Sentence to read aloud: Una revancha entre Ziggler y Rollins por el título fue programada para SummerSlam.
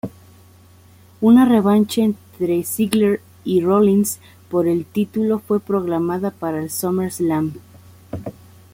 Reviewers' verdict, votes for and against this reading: accepted, 2, 0